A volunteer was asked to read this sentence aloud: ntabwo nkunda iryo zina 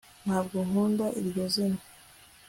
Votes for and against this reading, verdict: 2, 0, accepted